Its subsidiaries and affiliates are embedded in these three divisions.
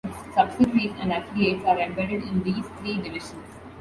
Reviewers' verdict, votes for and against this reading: accepted, 2, 0